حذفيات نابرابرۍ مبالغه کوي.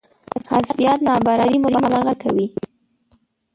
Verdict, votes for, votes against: rejected, 2, 6